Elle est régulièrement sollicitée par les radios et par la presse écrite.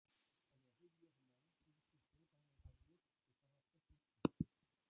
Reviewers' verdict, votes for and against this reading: rejected, 0, 2